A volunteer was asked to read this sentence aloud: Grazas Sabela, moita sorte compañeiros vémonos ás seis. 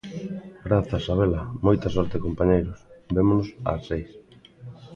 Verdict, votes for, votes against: rejected, 1, 2